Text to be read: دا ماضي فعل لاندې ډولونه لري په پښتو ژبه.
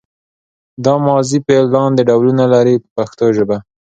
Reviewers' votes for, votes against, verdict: 2, 0, accepted